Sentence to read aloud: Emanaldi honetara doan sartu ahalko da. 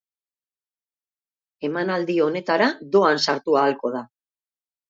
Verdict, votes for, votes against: accepted, 2, 0